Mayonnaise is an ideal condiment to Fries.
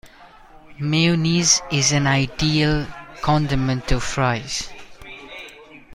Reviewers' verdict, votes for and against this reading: rejected, 0, 2